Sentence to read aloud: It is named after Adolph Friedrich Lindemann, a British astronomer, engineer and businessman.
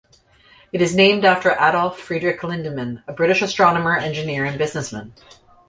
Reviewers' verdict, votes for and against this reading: accepted, 2, 0